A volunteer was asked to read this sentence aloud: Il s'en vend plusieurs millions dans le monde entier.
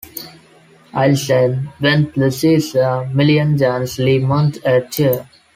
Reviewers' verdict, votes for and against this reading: rejected, 0, 2